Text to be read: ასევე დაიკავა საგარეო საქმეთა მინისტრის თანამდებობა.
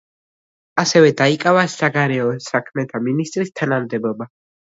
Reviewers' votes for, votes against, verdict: 2, 0, accepted